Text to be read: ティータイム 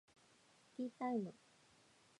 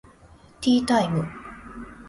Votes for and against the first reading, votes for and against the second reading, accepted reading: 2, 3, 2, 0, second